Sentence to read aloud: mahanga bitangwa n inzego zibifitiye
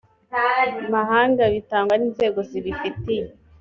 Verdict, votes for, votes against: accepted, 2, 0